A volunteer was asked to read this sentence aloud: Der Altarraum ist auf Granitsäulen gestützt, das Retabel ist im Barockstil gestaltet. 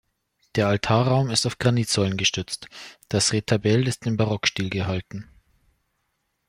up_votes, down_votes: 0, 2